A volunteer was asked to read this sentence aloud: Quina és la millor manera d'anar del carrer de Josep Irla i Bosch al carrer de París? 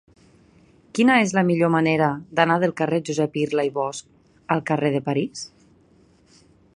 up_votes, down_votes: 0, 2